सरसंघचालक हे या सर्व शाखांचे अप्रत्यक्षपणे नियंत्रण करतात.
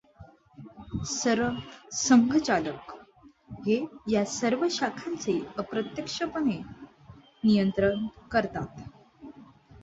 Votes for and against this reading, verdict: 2, 0, accepted